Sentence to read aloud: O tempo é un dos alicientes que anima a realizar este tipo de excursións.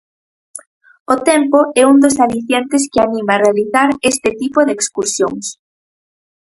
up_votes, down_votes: 4, 0